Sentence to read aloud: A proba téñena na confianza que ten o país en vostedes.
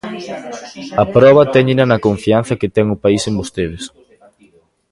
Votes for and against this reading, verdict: 1, 2, rejected